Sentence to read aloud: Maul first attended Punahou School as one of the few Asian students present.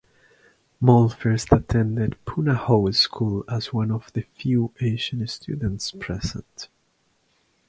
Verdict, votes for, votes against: accepted, 2, 0